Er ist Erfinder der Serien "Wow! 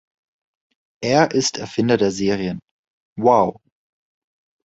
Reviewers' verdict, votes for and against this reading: accepted, 2, 0